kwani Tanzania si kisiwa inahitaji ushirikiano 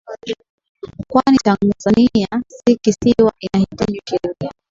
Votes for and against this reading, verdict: 0, 4, rejected